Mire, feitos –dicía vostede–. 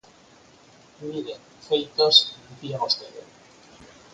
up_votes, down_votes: 4, 2